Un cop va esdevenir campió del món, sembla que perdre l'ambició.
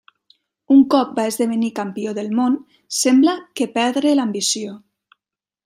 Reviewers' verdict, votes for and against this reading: accepted, 3, 0